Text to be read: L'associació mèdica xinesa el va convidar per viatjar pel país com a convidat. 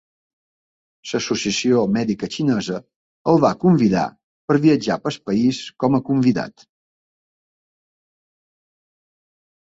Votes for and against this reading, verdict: 1, 2, rejected